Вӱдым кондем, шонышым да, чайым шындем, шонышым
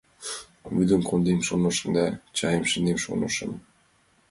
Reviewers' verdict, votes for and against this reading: accepted, 2, 0